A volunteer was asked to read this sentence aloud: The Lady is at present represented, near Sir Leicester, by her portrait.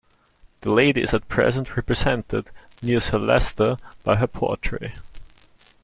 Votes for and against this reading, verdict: 1, 2, rejected